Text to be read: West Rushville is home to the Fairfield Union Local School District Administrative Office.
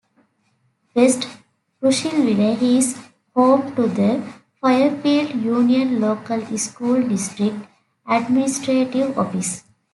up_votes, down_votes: 1, 2